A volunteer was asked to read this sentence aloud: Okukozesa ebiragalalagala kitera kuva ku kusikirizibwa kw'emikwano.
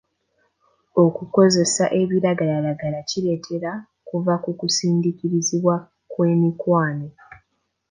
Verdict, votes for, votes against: rejected, 1, 2